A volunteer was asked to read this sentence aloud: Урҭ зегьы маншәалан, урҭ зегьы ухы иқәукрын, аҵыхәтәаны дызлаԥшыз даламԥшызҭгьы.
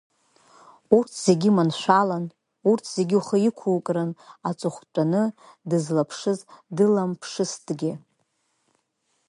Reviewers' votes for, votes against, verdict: 1, 2, rejected